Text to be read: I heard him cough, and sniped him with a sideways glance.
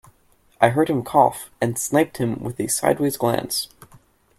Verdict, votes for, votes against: accepted, 2, 0